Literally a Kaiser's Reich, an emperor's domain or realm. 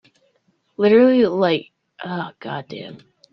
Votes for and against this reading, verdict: 0, 2, rejected